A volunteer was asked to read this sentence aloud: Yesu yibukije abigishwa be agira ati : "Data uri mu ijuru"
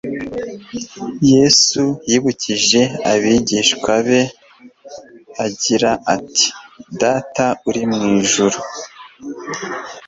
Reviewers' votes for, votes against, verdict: 2, 0, accepted